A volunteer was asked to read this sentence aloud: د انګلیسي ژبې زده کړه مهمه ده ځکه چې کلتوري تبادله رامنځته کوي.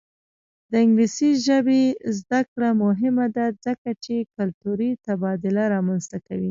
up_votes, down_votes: 0, 2